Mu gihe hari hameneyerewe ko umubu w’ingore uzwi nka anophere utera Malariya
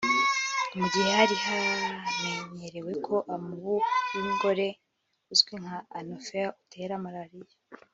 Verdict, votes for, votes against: accepted, 2, 0